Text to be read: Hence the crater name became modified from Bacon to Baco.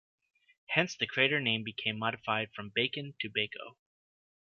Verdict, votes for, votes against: accepted, 2, 0